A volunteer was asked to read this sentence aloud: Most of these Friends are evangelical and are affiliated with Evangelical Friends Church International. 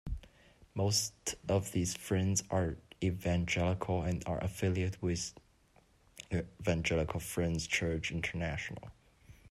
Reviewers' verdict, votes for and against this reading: rejected, 1, 2